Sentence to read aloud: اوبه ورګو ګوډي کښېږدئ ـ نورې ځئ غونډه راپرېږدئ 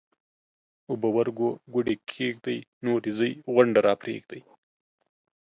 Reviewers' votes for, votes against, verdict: 2, 0, accepted